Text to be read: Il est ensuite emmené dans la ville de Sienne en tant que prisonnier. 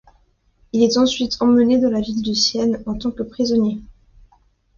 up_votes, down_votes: 2, 0